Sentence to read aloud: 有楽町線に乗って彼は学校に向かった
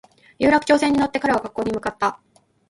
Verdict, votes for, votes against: rejected, 0, 2